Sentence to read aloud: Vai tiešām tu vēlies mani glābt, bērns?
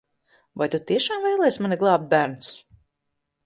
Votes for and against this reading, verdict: 0, 2, rejected